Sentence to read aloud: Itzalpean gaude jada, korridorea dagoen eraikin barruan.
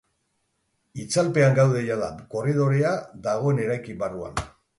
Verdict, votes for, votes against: accepted, 4, 0